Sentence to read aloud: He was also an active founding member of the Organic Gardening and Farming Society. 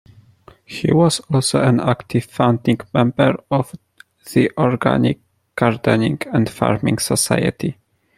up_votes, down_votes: 2, 0